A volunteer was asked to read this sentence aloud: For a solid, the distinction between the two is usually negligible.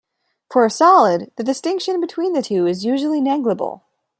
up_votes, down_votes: 2, 0